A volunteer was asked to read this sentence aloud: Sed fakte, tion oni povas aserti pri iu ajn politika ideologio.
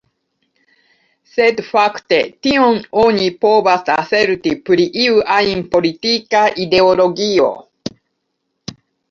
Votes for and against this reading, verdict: 2, 1, accepted